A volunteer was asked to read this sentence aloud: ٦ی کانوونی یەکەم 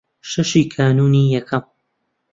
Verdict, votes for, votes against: rejected, 0, 2